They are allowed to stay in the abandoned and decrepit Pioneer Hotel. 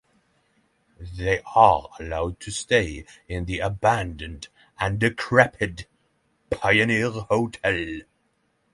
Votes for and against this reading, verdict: 3, 0, accepted